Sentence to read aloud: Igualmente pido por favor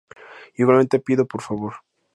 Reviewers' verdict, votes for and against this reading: rejected, 0, 2